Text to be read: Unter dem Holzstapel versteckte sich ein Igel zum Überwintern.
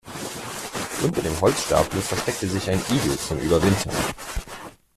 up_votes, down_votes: 1, 2